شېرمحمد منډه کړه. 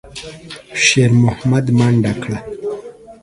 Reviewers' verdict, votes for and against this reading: rejected, 1, 2